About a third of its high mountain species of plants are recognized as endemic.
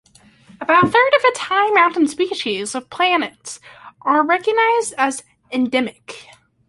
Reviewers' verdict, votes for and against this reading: rejected, 0, 2